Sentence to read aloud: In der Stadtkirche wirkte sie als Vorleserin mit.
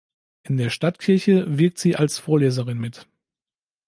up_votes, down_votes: 1, 2